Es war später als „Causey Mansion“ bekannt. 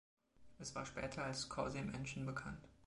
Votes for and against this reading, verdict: 2, 0, accepted